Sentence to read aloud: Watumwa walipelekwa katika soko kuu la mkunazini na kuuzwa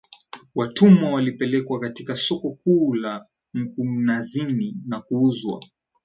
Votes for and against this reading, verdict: 1, 2, rejected